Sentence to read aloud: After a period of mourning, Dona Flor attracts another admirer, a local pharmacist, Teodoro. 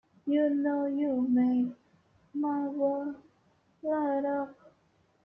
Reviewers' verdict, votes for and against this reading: rejected, 0, 2